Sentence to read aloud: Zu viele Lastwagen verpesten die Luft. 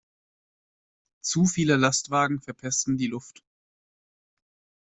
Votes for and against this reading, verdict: 2, 0, accepted